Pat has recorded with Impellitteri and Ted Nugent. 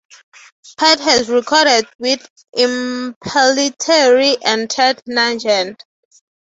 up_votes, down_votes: 0, 3